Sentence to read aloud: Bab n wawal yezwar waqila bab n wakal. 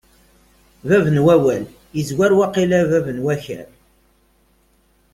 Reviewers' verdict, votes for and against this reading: accepted, 2, 0